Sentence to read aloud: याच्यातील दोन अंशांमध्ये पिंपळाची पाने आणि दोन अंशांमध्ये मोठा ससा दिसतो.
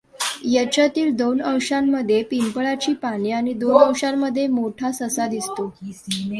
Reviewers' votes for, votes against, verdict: 2, 0, accepted